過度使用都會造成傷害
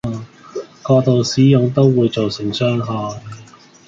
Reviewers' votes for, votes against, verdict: 0, 2, rejected